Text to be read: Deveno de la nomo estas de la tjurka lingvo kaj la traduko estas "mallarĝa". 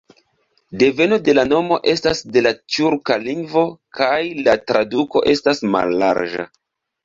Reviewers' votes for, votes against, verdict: 1, 2, rejected